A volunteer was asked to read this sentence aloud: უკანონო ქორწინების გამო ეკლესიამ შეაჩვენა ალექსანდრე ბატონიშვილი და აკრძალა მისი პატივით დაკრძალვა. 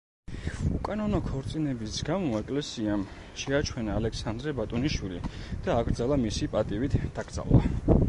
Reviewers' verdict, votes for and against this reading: accepted, 2, 1